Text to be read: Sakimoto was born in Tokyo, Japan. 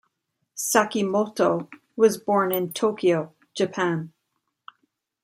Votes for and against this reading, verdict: 2, 0, accepted